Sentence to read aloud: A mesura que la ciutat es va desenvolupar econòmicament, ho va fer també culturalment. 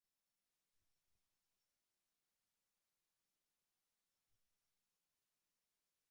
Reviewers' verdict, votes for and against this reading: rejected, 1, 2